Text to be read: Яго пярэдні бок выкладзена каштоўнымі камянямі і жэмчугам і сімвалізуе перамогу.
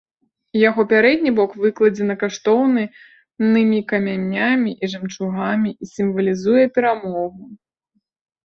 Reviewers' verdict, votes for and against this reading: rejected, 0, 3